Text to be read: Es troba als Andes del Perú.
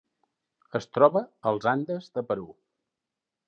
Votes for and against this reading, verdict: 1, 2, rejected